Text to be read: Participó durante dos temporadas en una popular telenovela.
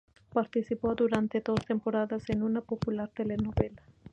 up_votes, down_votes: 4, 0